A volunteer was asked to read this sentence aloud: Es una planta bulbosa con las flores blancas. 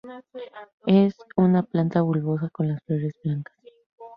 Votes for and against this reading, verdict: 2, 0, accepted